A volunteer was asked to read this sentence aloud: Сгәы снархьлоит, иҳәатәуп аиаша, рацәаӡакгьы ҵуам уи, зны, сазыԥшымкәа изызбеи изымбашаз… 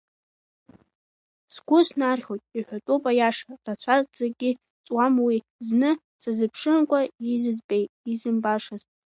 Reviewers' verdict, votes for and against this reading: rejected, 1, 2